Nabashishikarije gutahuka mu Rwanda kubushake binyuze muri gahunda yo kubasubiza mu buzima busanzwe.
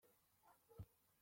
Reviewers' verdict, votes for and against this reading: rejected, 0, 2